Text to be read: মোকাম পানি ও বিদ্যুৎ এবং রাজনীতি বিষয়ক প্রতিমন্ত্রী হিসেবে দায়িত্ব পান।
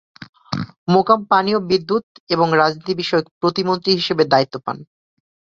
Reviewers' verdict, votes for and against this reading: accepted, 2, 0